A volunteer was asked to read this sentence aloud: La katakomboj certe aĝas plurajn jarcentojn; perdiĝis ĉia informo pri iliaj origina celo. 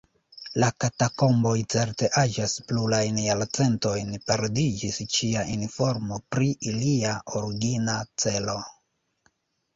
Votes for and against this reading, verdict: 1, 2, rejected